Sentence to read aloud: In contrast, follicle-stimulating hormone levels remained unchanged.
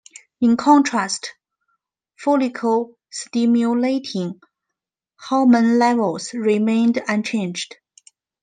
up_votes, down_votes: 2, 0